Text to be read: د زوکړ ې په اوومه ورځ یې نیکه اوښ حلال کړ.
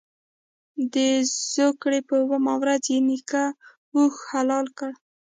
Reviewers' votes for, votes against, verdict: 2, 1, accepted